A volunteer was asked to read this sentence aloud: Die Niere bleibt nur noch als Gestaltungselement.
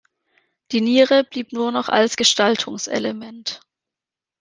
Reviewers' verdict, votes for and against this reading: rejected, 0, 2